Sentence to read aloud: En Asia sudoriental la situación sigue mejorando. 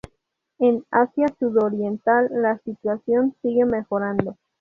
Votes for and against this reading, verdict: 2, 2, rejected